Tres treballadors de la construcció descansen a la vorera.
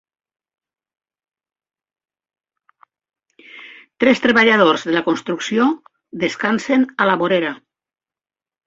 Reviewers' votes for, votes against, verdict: 3, 0, accepted